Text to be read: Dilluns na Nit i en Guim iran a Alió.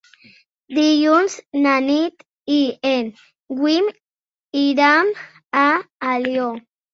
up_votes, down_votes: 2, 0